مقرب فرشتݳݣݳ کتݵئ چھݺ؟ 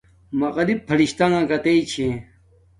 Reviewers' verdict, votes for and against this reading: accepted, 2, 1